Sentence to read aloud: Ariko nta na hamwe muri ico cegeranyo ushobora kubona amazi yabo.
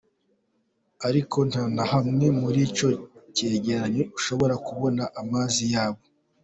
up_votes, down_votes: 2, 0